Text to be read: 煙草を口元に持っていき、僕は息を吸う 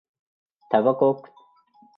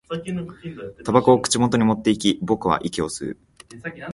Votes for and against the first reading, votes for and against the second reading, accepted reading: 0, 2, 2, 0, second